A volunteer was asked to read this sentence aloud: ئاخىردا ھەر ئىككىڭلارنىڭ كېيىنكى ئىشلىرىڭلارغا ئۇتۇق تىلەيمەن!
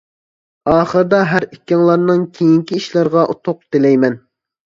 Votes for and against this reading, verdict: 0, 2, rejected